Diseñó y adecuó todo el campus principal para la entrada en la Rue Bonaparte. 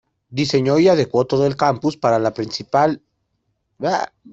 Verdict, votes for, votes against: rejected, 0, 2